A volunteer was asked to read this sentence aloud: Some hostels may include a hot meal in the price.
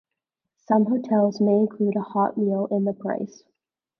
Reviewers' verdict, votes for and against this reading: rejected, 1, 2